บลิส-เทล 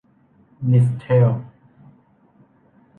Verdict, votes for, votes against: rejected, 1, 2